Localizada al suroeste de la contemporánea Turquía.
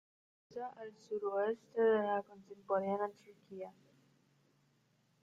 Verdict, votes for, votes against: rejected, 0, 2